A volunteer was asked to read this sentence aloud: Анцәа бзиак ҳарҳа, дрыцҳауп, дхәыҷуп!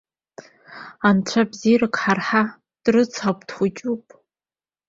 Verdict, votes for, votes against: rejected, 0, 2